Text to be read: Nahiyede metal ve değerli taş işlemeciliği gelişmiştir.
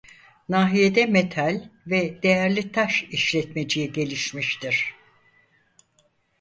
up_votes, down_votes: 0, 4